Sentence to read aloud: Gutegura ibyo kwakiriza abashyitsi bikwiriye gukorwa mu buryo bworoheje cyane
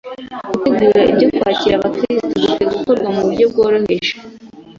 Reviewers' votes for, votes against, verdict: 1, 2, rejected